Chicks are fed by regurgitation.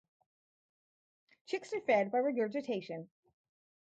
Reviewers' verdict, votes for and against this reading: rejected, 2, 2